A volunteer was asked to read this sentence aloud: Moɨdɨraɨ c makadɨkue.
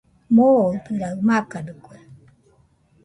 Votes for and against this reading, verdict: 0, 2, rejected